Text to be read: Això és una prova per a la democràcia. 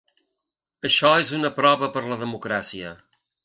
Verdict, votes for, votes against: rejected, 3, 4